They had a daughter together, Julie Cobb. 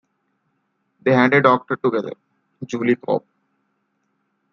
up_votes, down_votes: 2, 1